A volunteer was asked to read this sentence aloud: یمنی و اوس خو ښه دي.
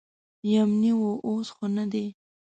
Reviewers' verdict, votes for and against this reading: rejected, 1, 2